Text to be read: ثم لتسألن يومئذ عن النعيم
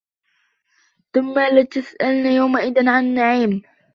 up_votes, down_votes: 1, 2